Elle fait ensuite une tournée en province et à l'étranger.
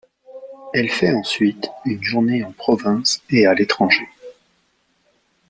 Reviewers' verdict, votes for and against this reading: rejected, 1, 2